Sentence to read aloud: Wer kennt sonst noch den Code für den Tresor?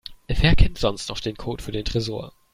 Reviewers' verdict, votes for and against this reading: accepted, 2, 0